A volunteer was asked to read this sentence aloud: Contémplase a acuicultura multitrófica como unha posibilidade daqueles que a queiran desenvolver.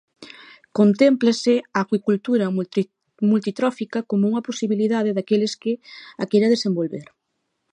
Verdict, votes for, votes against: rejected, 0, 2